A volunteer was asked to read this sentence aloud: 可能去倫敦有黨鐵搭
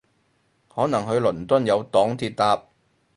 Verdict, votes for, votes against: accepted, 2, 0